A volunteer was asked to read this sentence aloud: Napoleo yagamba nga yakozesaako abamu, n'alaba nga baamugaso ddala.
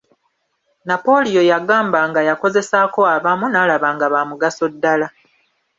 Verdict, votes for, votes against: accepted, 2, 1